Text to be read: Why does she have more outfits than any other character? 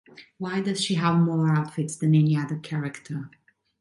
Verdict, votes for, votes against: accepted, 2, 0